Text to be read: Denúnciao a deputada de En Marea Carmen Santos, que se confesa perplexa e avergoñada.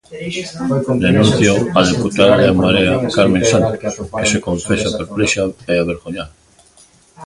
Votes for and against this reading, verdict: 1, 5, rejected